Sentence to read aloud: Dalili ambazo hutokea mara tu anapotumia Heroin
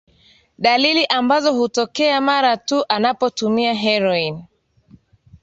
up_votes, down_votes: 2, 0